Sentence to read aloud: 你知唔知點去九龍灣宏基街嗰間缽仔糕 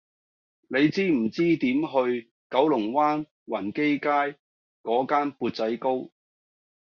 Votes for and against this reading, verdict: 2, 0, accepted